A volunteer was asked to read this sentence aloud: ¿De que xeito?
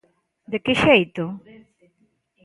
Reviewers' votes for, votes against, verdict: 2, 0, accepted